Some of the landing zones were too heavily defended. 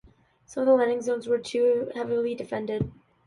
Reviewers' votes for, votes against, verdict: 2, 0, accepted